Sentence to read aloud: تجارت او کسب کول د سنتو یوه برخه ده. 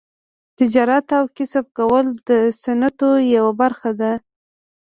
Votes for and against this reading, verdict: 2, 1, accepted